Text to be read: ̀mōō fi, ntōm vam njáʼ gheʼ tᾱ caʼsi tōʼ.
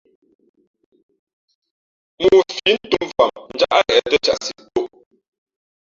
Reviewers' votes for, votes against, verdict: 0, 2, rejected